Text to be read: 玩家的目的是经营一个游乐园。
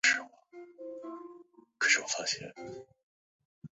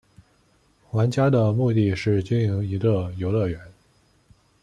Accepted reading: second